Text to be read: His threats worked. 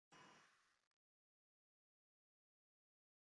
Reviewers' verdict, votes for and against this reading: rejected, 0, 2